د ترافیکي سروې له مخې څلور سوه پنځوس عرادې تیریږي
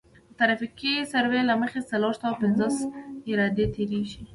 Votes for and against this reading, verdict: 2, 0, accepted